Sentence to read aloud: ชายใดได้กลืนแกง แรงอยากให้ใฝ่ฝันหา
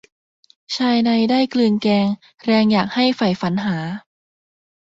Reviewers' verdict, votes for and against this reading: accepted, 2, 0